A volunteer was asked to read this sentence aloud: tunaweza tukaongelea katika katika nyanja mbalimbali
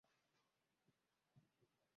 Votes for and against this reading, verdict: 0, 2, rejected